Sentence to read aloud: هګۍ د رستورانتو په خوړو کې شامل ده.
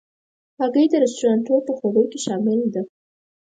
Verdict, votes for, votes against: accepted, 4, 0